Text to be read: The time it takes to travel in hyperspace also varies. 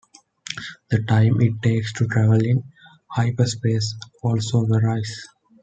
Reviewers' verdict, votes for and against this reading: rejected, 0, 2